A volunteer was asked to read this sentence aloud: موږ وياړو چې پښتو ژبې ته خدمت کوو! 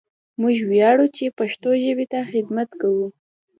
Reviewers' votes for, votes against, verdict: 2, 0, accepted